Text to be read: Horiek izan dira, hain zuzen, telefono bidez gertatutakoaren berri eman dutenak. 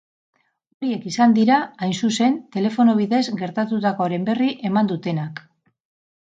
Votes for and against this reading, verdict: 8, 2, accepted